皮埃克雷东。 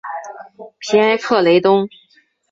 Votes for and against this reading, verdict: 6, 0, accepted